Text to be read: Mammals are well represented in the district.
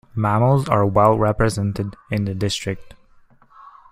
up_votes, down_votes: 1, 2